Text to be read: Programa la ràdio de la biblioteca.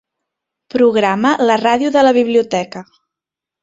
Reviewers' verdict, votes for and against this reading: accepted, 2, 0